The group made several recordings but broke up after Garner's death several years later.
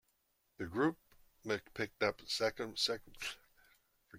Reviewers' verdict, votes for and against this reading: rejected, 0, 2